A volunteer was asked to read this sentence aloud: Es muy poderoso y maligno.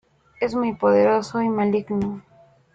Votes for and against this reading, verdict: 3, 0, accepted